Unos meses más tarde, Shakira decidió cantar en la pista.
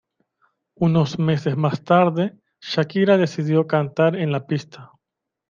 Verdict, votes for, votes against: accepted, 2, 1